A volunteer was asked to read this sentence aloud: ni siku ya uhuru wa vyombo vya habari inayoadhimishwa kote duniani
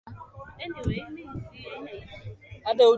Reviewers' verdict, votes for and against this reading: rejected, 0, 2